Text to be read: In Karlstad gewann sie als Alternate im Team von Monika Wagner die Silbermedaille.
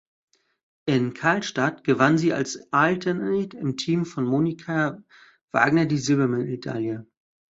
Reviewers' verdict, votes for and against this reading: rejected, 1, 2